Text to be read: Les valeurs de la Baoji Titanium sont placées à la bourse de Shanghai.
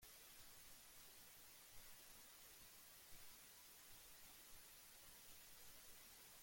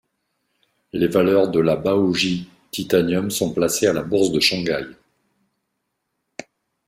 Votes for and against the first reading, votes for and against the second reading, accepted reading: 0, 2, 2, 0, second